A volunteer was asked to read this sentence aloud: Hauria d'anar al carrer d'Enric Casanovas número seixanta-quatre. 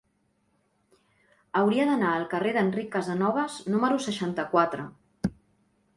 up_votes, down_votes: 2, 0